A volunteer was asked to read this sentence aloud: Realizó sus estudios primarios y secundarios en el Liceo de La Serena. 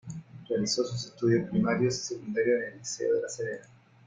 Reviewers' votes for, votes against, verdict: 2, 1, accepted